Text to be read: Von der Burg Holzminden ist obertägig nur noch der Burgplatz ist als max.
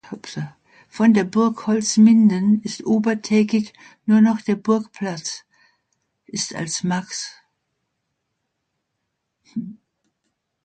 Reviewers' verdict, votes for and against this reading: rejected, 0, 2